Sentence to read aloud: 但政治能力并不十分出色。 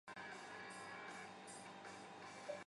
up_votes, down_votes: 0, 2